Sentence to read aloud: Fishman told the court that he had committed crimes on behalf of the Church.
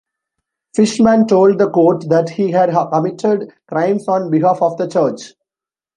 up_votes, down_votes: 0, 2